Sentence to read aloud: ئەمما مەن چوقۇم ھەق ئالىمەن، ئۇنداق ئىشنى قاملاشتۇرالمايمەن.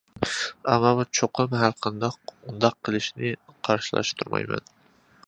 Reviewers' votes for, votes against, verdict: 0, 2, rejected